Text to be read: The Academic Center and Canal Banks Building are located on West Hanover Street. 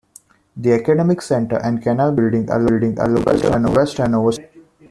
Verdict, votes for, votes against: rejected, 0, 2